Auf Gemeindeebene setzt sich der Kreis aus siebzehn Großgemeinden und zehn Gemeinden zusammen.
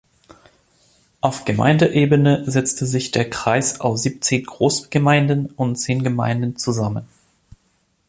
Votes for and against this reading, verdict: 0, 2, rejected